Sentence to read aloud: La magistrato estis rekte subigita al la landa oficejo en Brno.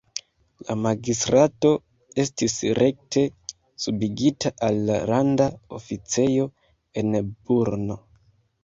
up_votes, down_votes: 1, 2